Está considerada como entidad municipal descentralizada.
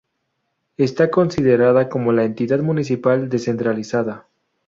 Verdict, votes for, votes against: rejected, 0, 2